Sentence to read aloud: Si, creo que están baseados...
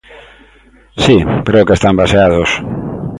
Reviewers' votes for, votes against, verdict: 2, 0, accepted